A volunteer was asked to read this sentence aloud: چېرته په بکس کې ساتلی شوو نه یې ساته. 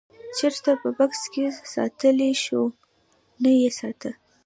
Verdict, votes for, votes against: accepted, 2, 0